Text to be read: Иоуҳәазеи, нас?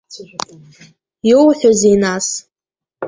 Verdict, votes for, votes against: rejected, 0, 2